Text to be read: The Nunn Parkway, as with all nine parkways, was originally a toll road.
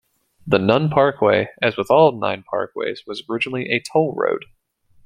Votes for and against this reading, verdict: 2, 0, accepted